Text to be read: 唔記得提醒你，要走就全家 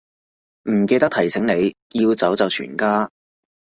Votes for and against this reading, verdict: 2, 0, accepted